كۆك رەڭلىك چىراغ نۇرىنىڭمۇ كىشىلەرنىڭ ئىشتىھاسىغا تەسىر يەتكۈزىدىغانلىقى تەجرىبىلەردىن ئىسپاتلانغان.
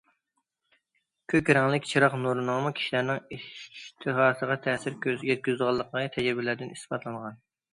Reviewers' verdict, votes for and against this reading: rejected, 0, 2